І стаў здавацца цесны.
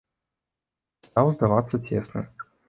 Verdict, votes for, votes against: rejected, 0, 2